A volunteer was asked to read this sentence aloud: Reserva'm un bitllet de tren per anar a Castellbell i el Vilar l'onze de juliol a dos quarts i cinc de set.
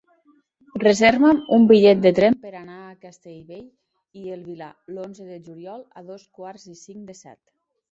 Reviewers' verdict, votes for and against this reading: accepted, 2, 1